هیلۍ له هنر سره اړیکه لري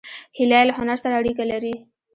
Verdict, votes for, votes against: rejected, 0, 2